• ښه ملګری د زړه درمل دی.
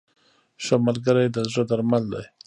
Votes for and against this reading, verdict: 0, 2, rejected